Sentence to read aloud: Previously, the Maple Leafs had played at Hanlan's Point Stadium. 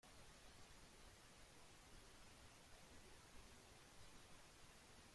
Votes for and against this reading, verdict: 0, 2, rejected